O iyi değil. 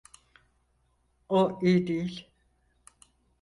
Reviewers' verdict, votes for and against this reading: accepted, 4, 0